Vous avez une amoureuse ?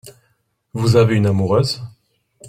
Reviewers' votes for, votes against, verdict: 2, 0, accepted